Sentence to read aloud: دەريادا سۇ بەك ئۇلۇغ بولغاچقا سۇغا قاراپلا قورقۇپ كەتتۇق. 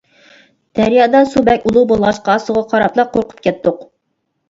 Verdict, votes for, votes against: accepted, 2, 0